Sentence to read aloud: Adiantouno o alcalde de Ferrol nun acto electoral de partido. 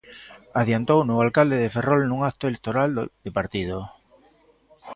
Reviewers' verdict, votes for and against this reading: rejected, 1, 2